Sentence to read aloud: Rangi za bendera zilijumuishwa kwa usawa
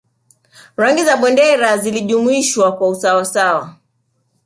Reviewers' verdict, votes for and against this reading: rejected, 1, 2